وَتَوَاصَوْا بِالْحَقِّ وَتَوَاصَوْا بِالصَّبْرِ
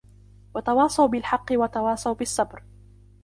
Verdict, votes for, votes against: rejected, 1, 2